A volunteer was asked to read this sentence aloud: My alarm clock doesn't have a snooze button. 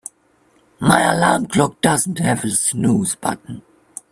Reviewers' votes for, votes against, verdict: 2, 0, accepted